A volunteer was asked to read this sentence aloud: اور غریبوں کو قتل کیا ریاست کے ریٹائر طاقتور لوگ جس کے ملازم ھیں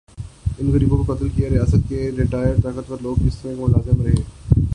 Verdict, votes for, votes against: rejected, 0, 2